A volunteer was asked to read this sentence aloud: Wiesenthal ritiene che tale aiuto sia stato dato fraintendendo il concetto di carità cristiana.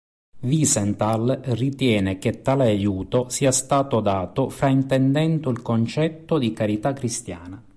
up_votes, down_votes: 2, 1